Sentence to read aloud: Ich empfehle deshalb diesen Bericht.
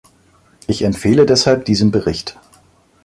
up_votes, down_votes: 2, 0